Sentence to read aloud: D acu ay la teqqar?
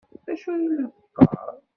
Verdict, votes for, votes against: rejected, 1, 2